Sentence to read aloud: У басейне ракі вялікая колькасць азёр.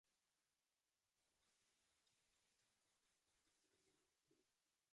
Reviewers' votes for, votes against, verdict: 1, 2, rejected